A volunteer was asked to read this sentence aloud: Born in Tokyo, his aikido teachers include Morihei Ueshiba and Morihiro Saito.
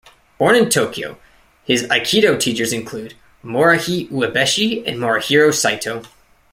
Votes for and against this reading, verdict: 0, 2, rejected